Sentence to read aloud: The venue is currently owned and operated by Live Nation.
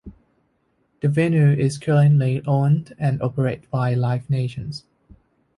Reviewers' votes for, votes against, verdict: 1, 2, rejected